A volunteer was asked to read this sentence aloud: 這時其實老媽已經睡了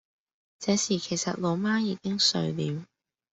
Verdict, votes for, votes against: accepted, 2, 0